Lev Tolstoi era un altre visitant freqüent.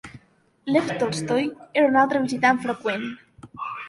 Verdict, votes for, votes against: rejected, 2, 3